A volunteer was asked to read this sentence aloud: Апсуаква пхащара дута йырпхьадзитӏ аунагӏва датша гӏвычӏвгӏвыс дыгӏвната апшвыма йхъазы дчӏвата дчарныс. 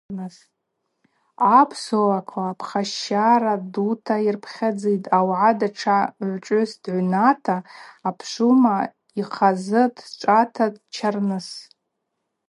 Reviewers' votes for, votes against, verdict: 2, 2, rejected